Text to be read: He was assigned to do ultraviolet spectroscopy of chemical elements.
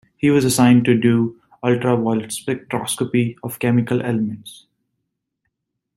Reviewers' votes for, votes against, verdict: 0, 2, rejected